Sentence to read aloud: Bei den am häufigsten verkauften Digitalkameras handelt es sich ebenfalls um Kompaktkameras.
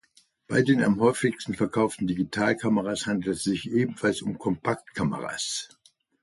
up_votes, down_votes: 2, 0